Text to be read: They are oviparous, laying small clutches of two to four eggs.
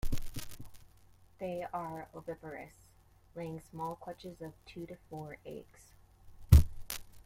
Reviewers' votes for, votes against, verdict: 2, 0, accepted